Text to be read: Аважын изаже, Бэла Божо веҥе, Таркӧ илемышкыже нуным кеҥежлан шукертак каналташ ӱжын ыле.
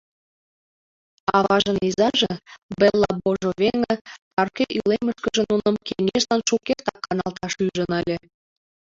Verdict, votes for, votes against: rejected, 1, 2